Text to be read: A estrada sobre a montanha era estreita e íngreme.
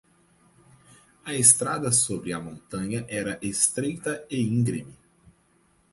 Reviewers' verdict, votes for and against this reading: accepted, 2, 0